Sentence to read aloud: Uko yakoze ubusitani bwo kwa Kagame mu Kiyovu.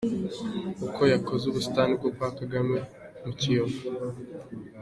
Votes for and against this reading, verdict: 2, 1, accepted